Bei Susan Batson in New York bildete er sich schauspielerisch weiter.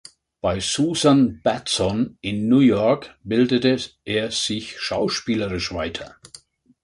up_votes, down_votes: 1, 3